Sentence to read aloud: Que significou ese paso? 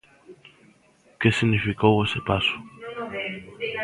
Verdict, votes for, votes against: rejected, 0, 2